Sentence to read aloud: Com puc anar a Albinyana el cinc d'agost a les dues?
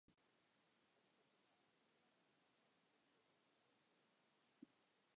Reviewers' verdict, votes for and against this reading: rejected, 0, 2